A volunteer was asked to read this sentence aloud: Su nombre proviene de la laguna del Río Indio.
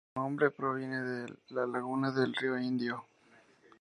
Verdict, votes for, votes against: accepted, 2, 0